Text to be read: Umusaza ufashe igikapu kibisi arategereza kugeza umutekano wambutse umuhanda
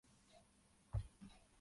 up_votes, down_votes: 0, 2